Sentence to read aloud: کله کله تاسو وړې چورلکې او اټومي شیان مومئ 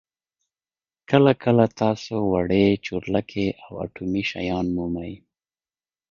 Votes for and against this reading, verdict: 2, 1, accepted